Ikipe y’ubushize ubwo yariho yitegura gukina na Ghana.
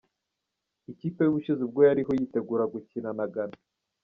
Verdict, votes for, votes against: accepted, 2, 1